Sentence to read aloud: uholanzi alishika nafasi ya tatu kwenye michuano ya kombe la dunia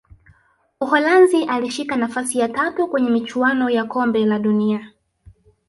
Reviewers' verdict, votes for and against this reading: rejected, 0, 2